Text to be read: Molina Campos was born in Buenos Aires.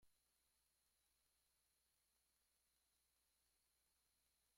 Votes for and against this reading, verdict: 1, 2, rejected